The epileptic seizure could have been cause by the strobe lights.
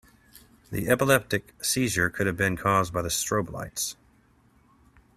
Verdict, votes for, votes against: rejected, 0, 2